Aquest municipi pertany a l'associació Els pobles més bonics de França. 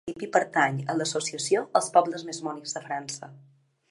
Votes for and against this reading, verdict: 1, 2, rejected